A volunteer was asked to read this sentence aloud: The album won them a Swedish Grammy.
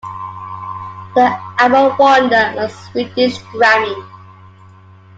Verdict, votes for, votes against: accepted, 2, 1